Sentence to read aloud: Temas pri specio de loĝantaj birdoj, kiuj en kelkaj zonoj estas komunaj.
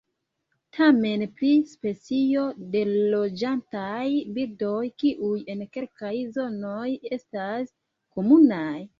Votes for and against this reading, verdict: 2, 1, accepted